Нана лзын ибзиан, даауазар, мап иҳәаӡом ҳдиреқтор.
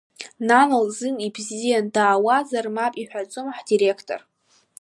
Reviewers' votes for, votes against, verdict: 2, 0, accepted